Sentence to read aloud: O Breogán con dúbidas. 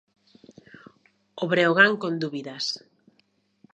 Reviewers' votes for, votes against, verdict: 2, 0, accepted